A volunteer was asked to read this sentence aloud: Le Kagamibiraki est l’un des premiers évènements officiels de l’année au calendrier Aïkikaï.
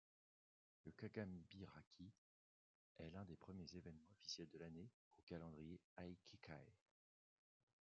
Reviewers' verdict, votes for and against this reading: accepted, 2, 1